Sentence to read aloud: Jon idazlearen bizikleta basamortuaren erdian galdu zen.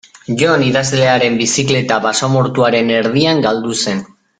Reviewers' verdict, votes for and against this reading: accepted, 4, 0